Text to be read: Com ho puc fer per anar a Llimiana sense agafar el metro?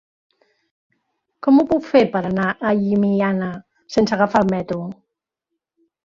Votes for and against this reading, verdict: 4, 0, accepted